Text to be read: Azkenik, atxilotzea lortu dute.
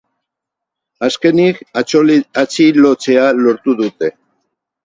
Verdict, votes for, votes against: rejected, 0, 4